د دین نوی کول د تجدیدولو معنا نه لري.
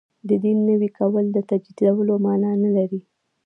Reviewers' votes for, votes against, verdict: 0, 2, rejected